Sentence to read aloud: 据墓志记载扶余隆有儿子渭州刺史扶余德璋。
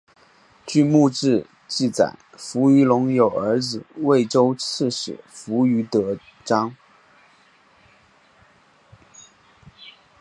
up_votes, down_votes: 2, 0